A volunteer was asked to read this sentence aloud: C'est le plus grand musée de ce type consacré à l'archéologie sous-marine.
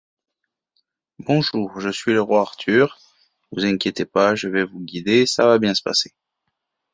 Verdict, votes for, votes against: rejected, 0, 2